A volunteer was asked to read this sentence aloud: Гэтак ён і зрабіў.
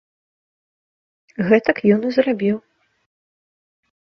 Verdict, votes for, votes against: accepted, 2, 0